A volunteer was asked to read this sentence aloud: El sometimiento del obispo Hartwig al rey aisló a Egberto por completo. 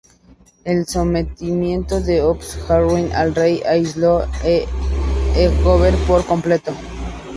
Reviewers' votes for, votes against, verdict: 2, 0, accepted